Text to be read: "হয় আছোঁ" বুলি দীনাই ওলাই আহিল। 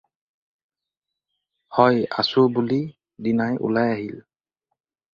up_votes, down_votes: 4, 0